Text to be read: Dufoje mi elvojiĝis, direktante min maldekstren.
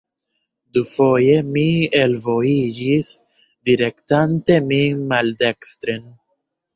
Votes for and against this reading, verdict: 1, 2, rejected